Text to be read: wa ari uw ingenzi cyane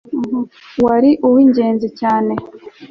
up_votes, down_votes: 2, 0